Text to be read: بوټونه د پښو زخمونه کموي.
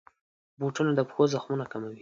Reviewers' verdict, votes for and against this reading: accepted, 2, 0